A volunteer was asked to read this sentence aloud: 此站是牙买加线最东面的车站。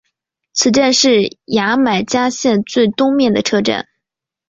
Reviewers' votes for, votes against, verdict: 3, 0, accepted